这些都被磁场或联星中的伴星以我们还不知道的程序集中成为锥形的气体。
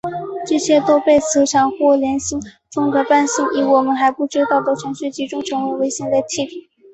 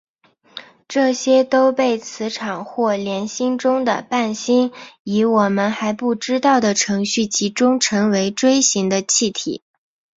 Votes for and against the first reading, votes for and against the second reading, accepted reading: 1, 2, 5, 0, second